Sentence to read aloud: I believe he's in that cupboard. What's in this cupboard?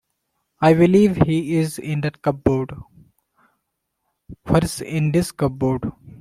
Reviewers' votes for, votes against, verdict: 2, 1, accepted